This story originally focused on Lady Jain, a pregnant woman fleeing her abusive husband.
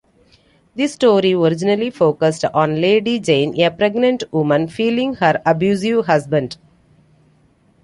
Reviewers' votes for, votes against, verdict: 0, 2, rejected